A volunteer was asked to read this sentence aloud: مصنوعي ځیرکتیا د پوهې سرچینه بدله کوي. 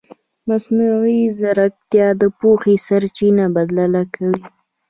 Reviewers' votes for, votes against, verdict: 0, 2, rejected